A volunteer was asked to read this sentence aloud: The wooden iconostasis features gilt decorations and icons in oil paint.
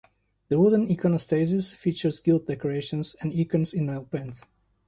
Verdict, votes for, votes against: accepted, 2, 0